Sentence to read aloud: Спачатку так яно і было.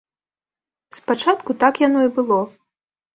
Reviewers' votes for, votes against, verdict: 2, 0, accepted